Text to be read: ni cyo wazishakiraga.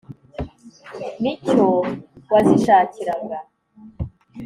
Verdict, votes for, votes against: accepted, 2, 0